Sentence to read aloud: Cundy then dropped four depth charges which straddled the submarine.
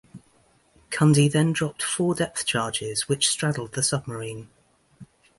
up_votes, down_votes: 2, 0